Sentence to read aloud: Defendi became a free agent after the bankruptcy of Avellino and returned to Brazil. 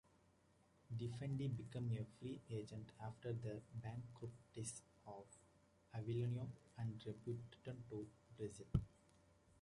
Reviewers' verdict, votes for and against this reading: rejected, 1, 2